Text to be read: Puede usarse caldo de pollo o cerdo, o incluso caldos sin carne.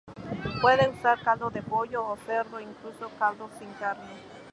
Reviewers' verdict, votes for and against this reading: accepted, 2, 0